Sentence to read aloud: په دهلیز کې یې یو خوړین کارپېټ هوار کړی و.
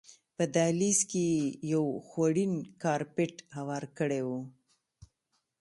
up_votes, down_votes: 2, 0